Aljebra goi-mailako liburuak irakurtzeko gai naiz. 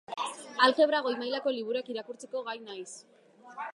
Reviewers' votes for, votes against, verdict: 3, 0, accepted